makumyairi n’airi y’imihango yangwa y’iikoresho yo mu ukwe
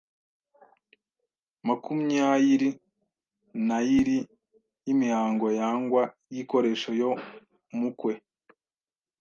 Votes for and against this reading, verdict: 2, 0, accepted